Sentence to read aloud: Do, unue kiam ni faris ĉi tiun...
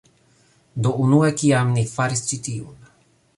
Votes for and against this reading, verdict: 2, 0, accepted